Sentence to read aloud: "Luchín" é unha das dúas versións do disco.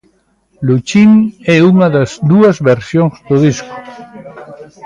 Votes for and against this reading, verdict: 0, 2, rejected